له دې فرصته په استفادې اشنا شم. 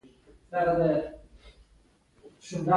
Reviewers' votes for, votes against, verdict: 1, 2, rejected